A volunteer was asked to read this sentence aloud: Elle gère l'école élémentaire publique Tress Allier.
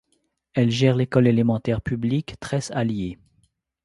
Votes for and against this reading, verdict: 2, 0, accepted